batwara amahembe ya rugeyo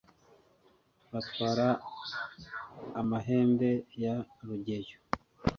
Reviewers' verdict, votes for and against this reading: accepted, 3, 0